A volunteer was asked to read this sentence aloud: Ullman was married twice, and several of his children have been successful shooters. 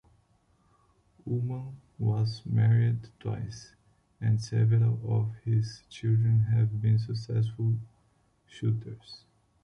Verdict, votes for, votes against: accepted, 2, 0